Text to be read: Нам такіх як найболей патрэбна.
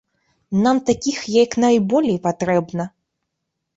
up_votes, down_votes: 2, 0